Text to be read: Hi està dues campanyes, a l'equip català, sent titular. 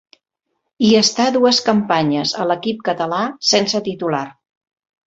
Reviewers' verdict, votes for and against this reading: rejected, 1, 2